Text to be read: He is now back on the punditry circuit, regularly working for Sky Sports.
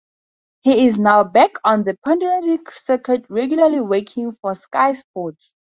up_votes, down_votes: 0, 2